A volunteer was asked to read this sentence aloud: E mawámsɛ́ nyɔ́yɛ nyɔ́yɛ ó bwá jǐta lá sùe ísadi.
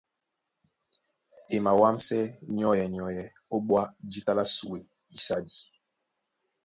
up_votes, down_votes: 2, 0